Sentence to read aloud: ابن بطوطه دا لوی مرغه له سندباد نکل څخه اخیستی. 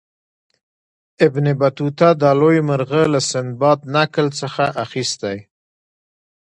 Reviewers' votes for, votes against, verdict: 2, 0, accepted